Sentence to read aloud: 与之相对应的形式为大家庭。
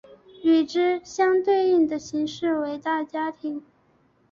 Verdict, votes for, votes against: accepted, 3, 0